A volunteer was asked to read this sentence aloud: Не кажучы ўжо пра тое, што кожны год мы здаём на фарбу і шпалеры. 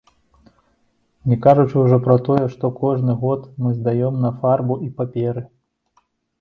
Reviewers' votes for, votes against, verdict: 0, 2, rejected